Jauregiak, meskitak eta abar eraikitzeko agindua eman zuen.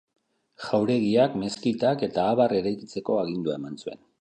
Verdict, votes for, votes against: accepted, 2, 0